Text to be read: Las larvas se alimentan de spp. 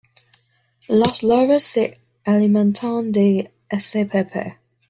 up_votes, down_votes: 2, 0